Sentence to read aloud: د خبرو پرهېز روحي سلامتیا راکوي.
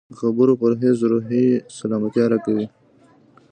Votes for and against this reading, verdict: 0, 2, rejected